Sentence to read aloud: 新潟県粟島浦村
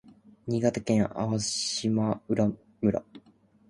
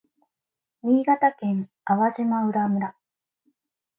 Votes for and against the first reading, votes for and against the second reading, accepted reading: 1, 2, 2, 1, second